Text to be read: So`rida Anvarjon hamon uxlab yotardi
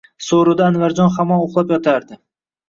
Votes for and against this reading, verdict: 2, 0, accepted